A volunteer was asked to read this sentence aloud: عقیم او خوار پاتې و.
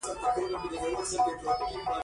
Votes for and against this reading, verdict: 0, 2, rejected